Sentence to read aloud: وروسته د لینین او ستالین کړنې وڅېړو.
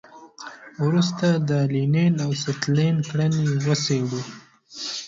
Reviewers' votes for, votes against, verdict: 1, 2, rejected